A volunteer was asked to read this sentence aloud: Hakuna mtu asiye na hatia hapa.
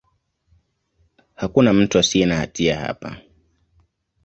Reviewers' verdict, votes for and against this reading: accepted, 2, 0